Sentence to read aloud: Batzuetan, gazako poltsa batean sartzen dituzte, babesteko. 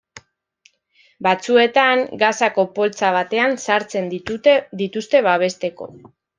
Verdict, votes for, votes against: rejected, 0, 2